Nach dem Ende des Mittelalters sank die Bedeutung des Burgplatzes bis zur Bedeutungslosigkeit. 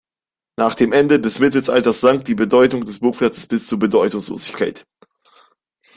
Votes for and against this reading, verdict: 0, 2, rejected